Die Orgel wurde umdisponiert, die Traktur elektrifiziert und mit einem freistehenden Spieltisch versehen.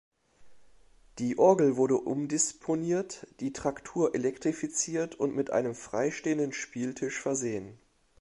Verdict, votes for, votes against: accepted, 2, 0